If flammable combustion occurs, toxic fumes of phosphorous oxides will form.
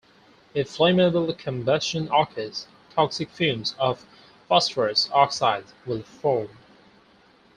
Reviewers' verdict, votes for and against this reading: rejected, 2, 4